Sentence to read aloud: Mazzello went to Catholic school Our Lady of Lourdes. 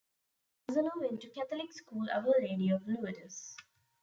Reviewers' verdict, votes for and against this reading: rejected, 1, 2